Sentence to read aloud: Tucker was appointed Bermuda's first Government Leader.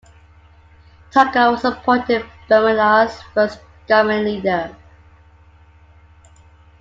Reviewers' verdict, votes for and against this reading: rejected, 0, 2